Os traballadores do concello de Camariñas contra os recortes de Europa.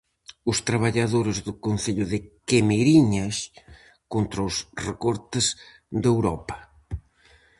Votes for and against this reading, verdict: 0, 4, rejected